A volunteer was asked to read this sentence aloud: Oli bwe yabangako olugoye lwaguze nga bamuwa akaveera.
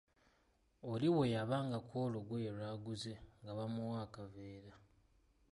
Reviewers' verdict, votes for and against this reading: accepted, 2, 0